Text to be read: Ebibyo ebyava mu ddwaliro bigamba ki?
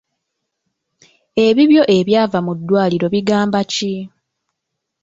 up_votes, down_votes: 2, 0